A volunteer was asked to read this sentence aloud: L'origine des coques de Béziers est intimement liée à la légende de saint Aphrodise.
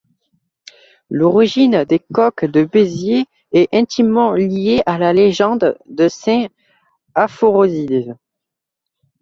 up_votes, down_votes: 0, 2